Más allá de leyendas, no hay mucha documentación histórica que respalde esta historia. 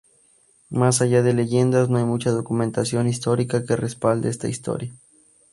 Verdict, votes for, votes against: accepted, 4, 0